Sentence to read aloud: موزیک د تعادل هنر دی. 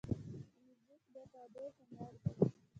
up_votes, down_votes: 1, 2